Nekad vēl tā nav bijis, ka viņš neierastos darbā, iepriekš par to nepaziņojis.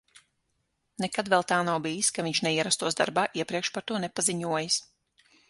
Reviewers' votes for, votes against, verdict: 6, 0, accepted